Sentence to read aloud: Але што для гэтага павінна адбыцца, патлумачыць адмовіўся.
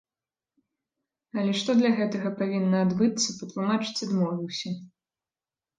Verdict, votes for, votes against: accepted, 2, 0